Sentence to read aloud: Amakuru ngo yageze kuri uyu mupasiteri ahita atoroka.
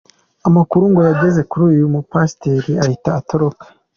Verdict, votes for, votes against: accepted, 2, 1